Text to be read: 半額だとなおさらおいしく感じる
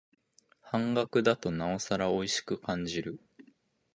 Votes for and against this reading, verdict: 2, 0, accepted